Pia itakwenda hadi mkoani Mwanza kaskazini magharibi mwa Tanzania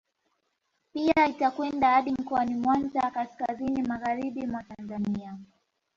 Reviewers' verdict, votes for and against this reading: accepted, 2, 0